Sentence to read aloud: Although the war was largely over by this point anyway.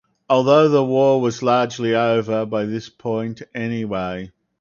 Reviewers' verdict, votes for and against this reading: accepted, 4, 0